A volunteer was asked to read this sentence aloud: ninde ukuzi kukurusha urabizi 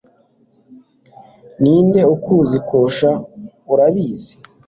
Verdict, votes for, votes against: rejected, 1, 2